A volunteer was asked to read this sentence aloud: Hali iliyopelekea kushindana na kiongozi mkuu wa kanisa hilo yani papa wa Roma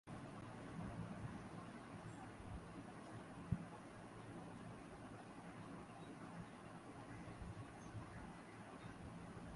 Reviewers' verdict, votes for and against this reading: rejected, 0, 3